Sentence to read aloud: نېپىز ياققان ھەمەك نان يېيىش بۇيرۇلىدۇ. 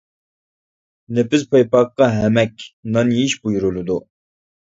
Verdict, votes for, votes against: rejected, 0, 2